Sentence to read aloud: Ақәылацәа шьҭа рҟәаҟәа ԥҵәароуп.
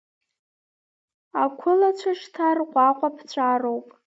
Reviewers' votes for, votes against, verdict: 0, 2, rejected